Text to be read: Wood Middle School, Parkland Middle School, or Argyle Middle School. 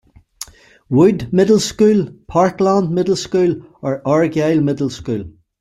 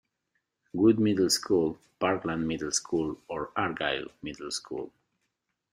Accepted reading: second